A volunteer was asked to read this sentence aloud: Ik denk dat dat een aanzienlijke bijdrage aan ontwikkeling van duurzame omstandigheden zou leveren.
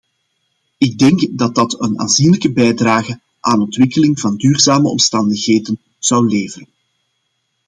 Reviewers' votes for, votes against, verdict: 2, 0, accepted